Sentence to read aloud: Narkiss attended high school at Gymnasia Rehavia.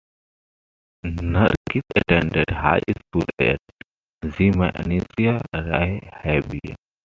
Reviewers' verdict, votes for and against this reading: rejected, 0, 2